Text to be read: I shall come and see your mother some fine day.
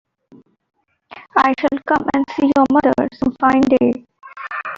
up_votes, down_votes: 2, 1